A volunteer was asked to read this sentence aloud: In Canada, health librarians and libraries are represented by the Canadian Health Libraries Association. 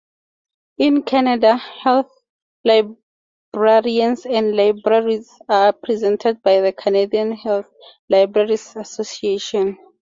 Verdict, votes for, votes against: accepted, 4, 0